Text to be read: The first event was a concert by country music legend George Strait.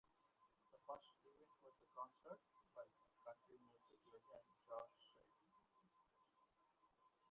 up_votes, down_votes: 0, 2